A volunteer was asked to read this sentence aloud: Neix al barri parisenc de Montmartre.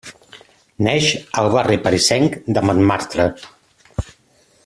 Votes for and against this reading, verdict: 2, 1, accepted